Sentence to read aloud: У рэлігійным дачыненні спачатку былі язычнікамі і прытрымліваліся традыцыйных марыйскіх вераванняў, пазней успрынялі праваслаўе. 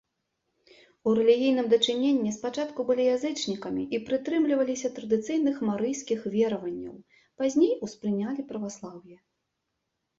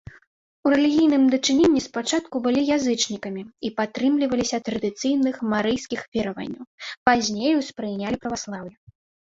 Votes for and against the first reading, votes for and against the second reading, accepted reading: 2, 0, 0, 2, first